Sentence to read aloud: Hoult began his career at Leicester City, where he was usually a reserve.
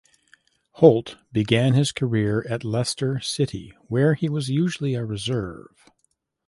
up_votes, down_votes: 2, 0